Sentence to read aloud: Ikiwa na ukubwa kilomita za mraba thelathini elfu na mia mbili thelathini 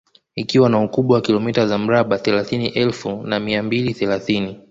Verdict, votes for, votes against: rejected, 0, 2